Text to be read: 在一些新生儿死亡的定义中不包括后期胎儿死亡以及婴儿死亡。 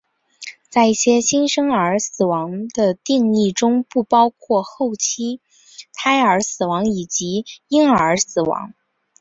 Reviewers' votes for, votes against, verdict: 1, 2, rejected